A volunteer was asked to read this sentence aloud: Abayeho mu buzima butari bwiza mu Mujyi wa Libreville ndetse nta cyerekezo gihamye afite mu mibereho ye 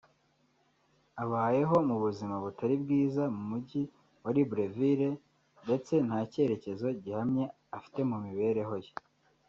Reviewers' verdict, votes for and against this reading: rejected, 1, 2